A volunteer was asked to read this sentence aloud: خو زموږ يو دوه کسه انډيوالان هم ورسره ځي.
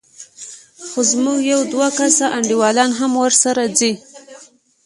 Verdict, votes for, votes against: rejected, 0, 2